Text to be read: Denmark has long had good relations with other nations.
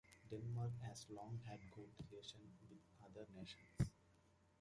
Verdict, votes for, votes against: accepted, 2, 1